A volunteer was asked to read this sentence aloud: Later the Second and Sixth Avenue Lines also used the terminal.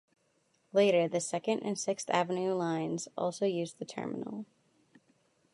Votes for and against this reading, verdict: 2, 0, accepted